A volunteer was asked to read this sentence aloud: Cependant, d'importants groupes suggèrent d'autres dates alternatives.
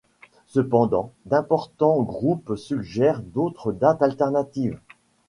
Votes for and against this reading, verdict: 2, 0, accepted